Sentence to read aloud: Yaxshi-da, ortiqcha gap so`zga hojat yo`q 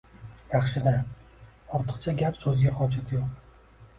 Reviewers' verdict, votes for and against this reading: accepted, 2, 0